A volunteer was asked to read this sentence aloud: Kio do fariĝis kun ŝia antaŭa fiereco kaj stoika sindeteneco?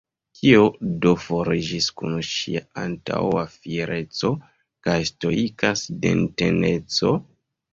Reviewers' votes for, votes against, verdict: 0, 2, rejected